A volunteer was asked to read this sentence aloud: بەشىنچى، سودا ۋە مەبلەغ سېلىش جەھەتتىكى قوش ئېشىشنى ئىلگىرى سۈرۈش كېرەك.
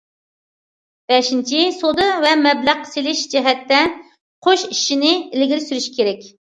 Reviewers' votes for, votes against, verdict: 0, 2, rejected